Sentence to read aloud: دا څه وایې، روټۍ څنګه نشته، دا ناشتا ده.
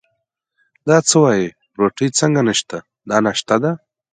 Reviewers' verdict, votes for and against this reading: accepted, 2, 0